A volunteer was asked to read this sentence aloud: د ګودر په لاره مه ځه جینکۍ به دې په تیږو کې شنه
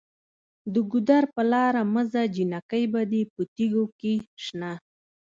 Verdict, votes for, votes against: accepted, 2, 1